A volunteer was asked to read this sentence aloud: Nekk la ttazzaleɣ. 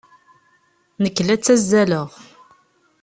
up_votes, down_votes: 2, 0